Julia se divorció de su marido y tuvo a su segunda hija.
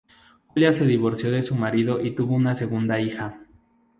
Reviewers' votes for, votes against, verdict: 0, 2, rejected